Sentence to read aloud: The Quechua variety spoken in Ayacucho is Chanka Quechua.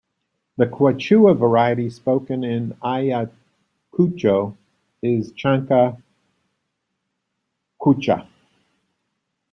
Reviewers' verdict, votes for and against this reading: rejected, 1, 2